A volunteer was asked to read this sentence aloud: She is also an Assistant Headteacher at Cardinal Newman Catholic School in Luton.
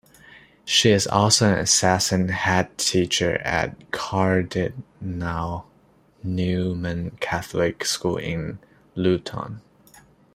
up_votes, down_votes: 0, 2